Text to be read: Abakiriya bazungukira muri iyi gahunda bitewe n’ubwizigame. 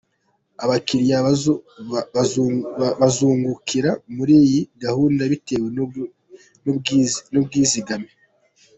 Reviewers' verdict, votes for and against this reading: rejected, 1, 2